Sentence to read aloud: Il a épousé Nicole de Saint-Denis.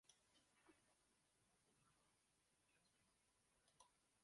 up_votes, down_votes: 0, 2